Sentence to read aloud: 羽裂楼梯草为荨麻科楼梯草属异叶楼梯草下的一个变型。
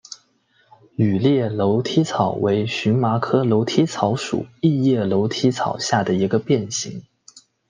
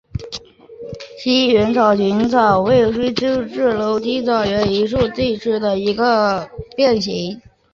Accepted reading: first